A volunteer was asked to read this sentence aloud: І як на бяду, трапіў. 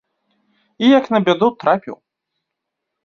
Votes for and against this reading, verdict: 2, 0, accepted